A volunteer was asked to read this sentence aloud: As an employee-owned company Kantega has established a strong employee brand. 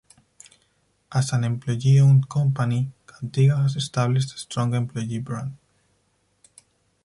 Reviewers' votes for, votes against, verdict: 0, 4, rejected